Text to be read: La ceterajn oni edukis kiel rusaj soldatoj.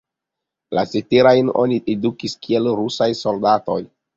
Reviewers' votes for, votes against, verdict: 2, 0, accepted